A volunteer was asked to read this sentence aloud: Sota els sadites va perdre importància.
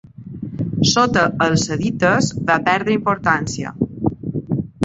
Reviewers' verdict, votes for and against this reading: accepted, 2, 0